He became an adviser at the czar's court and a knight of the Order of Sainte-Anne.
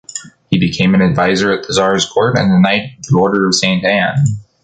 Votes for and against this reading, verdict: 1, 2, rejected